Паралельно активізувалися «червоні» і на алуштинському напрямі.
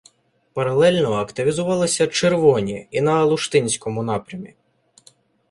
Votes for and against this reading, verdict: 0, 2, rejected